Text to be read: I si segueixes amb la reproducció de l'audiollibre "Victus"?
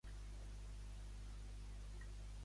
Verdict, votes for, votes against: rejected, 0, 2